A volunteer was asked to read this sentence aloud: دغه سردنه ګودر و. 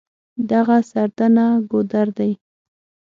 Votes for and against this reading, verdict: 3, 6, rejected